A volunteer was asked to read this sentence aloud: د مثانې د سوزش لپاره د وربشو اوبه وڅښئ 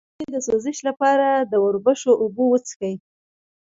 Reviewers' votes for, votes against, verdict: 1, 2, rejected